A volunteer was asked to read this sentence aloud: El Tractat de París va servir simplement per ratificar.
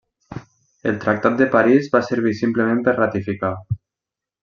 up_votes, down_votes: 1, 2